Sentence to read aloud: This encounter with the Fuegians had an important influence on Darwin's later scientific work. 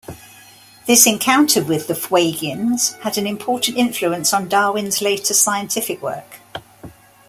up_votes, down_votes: 2, 0